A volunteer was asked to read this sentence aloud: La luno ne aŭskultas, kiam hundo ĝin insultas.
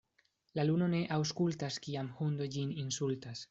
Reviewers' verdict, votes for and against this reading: accepted, 2, 1